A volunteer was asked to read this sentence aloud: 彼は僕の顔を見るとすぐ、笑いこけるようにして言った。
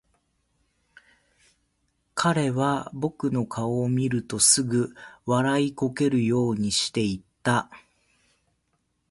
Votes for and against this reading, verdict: 2, 0, accepted